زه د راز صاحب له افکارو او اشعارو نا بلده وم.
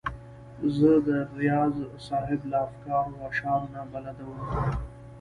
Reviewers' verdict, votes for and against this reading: rejected, 1, 2